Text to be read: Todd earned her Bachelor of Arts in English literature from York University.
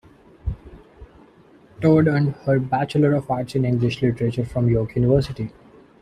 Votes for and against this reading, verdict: 2, 0, accepted